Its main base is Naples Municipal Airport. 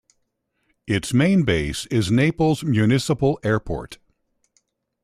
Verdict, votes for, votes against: accepted, 2, 0